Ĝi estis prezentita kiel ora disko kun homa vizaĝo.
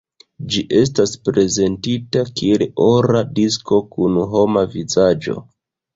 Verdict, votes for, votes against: accepted, 2, 1